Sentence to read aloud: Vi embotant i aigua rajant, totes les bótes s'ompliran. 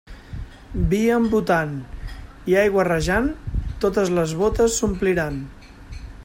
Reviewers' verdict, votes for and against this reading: accepted, 2, 1